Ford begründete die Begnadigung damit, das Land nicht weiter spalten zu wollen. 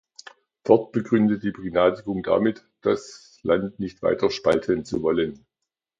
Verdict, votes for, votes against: rejected, 0, 2